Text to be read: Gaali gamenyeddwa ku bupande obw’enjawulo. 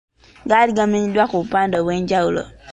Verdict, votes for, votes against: accepted, 2, 0